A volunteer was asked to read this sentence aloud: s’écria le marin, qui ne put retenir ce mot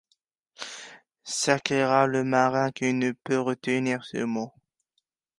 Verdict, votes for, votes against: rejected, 1, 2